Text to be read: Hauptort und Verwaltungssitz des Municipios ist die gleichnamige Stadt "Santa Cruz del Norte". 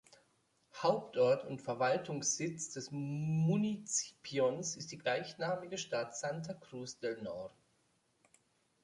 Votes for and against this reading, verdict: 1, 2, rejected